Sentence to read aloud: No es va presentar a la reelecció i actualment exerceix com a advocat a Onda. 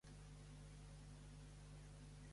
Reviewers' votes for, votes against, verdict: 0, 2, rejected